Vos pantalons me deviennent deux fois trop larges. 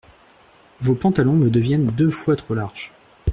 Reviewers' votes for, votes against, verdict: 2, 0, accepted